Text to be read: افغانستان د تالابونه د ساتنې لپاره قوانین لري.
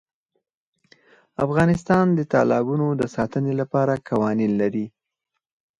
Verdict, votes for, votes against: rejected, 0, 4